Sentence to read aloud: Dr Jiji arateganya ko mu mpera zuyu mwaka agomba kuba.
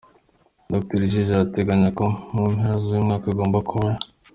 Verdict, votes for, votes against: accepted, 2, 0